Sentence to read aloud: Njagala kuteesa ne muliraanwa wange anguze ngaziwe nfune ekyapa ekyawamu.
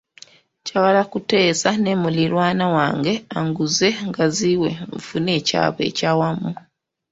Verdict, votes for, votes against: rejected, 1, 2